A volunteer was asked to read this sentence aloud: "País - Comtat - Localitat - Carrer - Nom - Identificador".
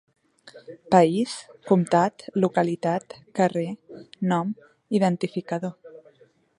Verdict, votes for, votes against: accepted, 2, 0